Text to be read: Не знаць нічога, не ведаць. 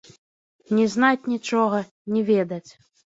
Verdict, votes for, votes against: accepted, 2, 0